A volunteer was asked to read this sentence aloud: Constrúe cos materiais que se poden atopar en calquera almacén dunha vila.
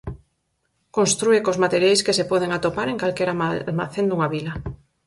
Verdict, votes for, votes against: rejected, 2, 4